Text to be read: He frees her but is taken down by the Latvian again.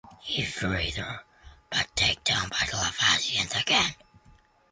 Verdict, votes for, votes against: rejected, 1, 3